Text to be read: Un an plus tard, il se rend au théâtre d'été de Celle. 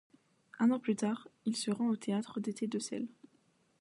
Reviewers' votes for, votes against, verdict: 1, 2, rejected